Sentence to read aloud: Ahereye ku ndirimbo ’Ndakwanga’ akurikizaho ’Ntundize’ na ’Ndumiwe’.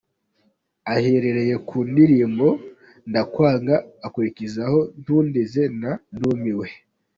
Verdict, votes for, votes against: rejected, 1, 2